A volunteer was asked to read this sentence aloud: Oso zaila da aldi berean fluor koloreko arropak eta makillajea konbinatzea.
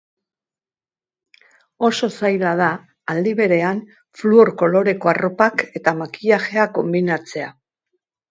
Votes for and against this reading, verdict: 5, 0, accepted